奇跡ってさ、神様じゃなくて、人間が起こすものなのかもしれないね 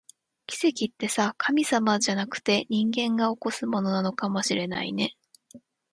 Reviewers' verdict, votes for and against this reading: accepted, 2, 0